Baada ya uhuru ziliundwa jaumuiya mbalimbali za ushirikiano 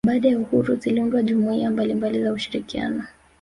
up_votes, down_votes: 0, 2